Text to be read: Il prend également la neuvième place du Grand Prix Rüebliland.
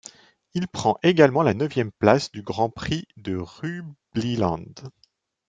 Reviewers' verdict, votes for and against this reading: rejected, 2, 3